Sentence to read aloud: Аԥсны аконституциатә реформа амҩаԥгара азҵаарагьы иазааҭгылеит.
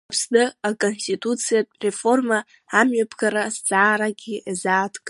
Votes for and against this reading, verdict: 1, 2, rejected